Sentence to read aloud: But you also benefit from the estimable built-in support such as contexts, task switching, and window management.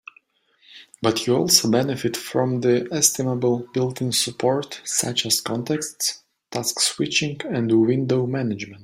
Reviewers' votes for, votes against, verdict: 2, 0, accepted